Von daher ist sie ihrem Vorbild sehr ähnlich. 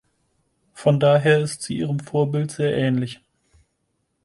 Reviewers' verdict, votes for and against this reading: accepted, 4, 0